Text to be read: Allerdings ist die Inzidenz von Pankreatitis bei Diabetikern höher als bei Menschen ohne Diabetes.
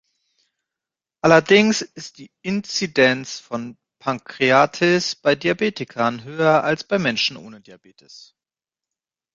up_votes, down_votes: 1, 2